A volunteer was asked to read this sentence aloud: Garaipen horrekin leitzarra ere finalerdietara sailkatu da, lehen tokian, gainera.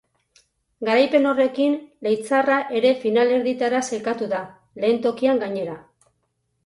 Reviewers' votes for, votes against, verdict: 4, 0, accepted